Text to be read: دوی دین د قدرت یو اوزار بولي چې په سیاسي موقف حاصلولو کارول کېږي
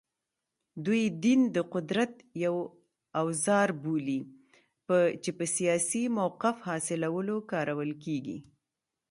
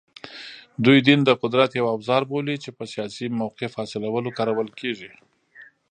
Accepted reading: first